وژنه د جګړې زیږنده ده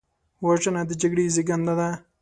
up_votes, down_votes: 2, 0